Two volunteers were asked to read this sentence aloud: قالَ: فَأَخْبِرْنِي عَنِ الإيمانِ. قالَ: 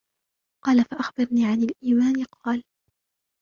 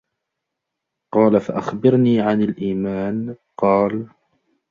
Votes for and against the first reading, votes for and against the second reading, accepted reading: 0, 2, 2, 0, second